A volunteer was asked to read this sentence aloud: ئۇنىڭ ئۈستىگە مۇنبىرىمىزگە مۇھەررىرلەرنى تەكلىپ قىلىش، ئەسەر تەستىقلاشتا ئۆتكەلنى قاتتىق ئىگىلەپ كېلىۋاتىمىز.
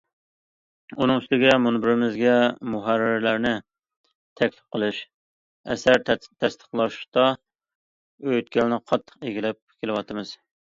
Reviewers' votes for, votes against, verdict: 0, 2, rejected